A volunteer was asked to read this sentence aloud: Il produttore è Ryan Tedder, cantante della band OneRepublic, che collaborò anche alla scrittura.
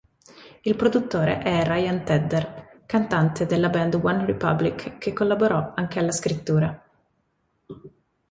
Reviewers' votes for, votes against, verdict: 2, 0, accepted